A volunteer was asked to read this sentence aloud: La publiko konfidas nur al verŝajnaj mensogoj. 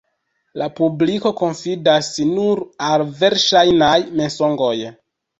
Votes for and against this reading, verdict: 0, 2, rejected